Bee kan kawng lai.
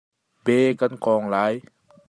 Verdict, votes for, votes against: accepted, 2, 0